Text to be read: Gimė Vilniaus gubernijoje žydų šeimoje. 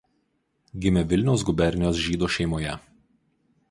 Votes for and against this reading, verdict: 0, 2, rejected